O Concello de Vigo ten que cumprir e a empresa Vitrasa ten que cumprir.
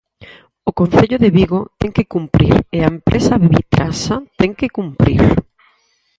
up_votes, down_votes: 0, 4